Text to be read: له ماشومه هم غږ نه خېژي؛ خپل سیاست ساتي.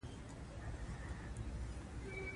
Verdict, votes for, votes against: rejected, 1, 2